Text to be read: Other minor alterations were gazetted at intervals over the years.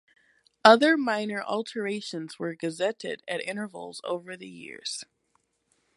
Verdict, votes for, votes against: accepted, 2, 0